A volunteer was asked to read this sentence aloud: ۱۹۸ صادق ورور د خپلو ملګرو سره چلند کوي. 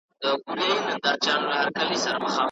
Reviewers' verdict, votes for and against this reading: rejected, 0, 2